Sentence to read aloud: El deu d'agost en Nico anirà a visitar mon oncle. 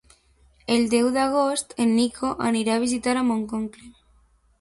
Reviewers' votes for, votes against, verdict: 0, 2, rejected